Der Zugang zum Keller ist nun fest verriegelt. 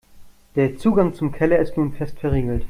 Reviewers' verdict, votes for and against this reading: accepted, 2, 0